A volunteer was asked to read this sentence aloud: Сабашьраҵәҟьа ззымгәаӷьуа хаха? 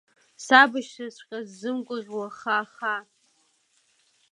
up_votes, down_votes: 1, 2